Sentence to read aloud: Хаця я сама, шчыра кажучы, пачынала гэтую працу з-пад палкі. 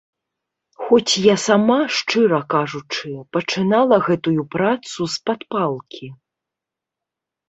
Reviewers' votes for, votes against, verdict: 1, 2, rejected